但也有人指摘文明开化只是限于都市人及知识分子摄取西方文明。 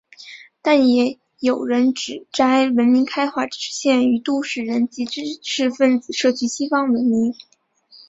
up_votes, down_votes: 3, 1